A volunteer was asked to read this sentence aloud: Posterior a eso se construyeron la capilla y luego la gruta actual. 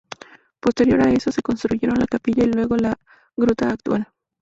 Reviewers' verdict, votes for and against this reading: accepted, 2, 0